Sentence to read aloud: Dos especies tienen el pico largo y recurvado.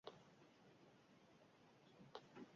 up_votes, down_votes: 0, 2